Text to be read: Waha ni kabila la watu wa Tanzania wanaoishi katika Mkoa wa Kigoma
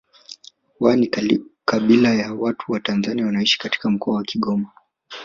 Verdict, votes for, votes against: accepted, 2, 1